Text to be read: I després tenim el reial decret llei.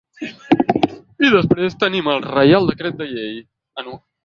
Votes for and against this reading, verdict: 0, 2, rejected